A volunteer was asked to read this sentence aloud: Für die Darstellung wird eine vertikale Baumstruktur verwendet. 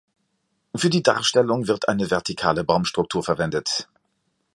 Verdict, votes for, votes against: accepted, 2, 0